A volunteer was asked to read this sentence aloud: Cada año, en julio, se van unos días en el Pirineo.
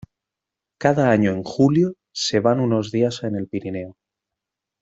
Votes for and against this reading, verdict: 2, 0, accepted